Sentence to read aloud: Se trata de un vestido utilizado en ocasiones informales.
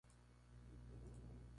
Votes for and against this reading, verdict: 0, 2, rejected